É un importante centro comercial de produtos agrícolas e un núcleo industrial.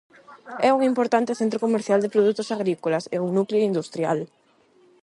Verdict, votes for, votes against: rejected, 0, 8